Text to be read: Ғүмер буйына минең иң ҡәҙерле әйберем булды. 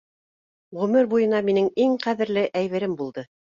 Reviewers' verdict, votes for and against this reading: accepted, 2, 0